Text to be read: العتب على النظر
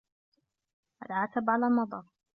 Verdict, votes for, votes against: accepted, 2, 0